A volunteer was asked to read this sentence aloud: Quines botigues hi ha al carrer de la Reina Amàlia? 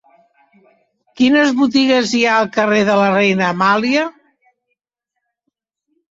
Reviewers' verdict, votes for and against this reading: accepted, 3, 0